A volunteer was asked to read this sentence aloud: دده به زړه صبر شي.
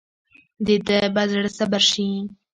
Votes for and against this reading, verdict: 3, 1, accepted